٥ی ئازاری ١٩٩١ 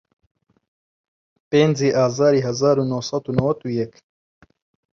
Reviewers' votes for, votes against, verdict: 0, 2, rejected